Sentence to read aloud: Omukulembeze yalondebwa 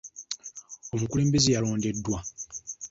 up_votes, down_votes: 1, 2